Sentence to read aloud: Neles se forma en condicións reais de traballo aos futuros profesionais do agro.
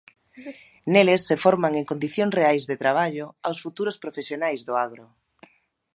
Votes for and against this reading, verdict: 0, 2, rejected